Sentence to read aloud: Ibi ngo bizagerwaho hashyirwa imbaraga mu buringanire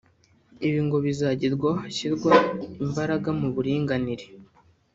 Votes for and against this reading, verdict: 1, 2, rejected